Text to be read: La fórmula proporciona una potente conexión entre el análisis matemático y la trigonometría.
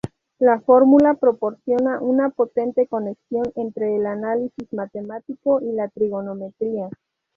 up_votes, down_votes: 4, 0